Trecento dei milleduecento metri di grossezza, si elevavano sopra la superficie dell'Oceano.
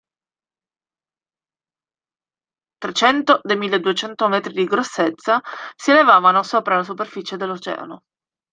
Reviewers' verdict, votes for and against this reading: accepted, 2, 1